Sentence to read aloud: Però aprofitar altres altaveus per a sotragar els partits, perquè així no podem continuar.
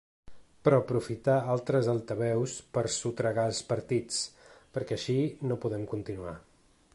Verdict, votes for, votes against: accepted, 3, 1